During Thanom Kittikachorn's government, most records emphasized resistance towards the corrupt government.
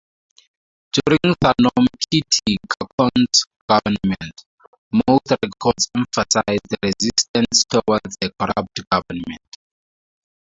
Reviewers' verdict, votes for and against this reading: rejected, 0, 4